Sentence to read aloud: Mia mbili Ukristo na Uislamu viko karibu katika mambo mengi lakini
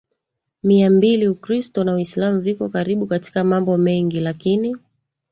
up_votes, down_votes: 2, 1